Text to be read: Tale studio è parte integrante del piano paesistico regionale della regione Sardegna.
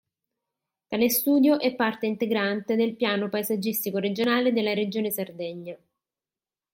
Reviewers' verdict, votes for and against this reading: rejected, 0, 2